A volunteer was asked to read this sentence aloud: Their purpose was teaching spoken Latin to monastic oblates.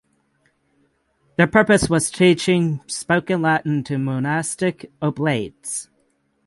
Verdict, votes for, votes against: accepted, 6, 3